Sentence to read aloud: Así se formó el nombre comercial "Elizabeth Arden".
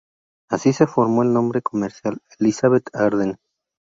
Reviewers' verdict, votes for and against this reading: accepted, 2, 0